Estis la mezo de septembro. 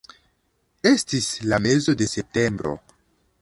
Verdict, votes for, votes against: accepted, 2, 0